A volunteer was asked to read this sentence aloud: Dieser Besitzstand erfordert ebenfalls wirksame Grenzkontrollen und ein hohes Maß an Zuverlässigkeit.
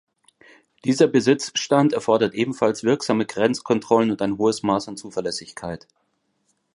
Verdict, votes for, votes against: accepted, 2, 0